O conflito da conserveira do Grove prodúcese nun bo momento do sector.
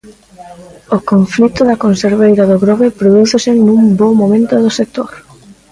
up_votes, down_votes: 1, 2